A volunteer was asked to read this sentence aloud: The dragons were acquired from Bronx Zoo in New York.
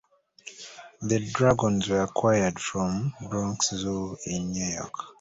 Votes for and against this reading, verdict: 2, 0, accepted